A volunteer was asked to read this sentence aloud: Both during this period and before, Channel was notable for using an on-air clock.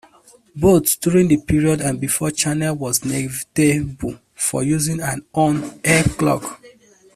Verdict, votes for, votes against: rejected, 0, 2